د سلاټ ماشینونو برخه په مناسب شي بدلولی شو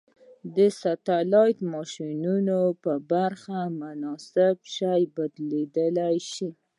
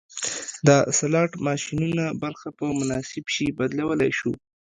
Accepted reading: second